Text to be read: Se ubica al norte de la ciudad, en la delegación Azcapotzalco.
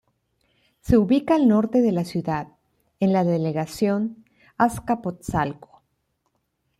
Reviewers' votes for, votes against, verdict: 1, 2, rejected